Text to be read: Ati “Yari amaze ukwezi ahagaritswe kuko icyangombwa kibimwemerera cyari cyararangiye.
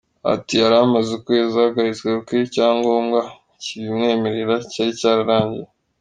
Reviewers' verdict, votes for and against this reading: accepted, 2, 1